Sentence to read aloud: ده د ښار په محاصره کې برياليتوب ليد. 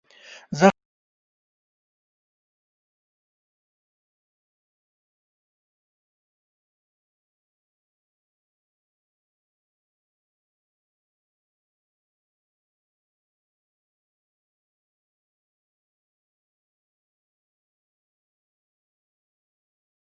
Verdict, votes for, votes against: rejected, 0, 2